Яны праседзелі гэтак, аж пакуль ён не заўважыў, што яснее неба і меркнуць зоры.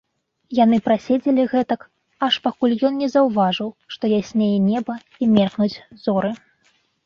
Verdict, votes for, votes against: accepted, 2, 0